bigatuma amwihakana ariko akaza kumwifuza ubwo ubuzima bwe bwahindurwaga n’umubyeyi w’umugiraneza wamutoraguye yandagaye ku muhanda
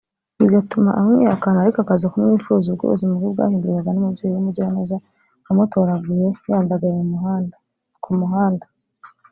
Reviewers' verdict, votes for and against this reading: rejected, 0, 2